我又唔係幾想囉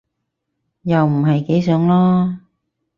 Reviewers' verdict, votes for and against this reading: rejected, 0, 4